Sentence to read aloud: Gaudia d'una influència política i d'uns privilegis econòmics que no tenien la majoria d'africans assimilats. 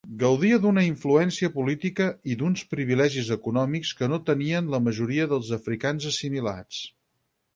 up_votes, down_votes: 2, 4